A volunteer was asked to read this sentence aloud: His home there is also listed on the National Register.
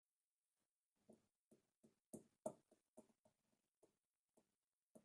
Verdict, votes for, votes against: rejected, 0, 2